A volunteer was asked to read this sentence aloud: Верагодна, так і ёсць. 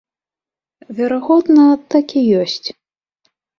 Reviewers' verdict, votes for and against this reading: accepted, 3, 0